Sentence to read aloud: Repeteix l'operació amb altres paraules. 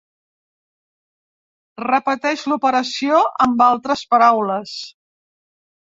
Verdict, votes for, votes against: accepted, 3, 0